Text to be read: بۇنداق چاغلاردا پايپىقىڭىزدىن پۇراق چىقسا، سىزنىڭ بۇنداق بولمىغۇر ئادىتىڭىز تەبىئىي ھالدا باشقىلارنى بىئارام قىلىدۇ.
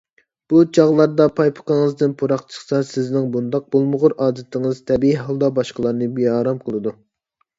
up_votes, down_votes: 1, 2